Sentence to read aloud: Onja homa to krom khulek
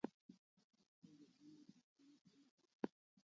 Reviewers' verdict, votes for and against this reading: rejected, 0, 2